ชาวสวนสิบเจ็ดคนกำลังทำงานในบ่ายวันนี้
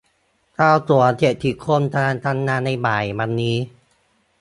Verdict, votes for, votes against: rejected, 0, 2